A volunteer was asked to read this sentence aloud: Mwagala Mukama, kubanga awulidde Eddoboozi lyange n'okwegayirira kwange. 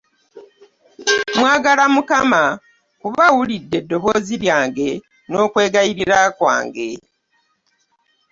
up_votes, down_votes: 1, 2